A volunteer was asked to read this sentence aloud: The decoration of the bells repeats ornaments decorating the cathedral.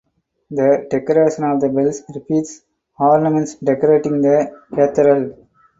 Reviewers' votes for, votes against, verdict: 0, 4, rejected